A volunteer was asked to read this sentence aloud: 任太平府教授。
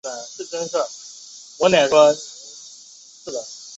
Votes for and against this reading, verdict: 1, 2, rejected